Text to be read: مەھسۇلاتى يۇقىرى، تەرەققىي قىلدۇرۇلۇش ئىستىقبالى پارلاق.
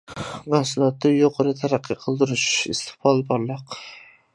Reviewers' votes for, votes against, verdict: 0, 2, rejected